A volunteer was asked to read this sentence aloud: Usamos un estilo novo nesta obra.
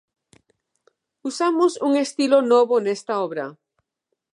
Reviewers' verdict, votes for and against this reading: accepted, 2, 0